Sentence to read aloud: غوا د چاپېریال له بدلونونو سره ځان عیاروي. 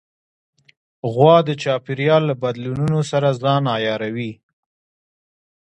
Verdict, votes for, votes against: accepted, 2, 1